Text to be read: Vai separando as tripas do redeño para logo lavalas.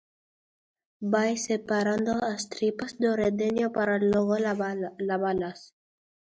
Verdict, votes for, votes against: rejected, 0, 2